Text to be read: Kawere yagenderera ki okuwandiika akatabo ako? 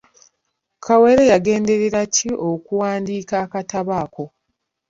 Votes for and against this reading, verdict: 2, 0, accepted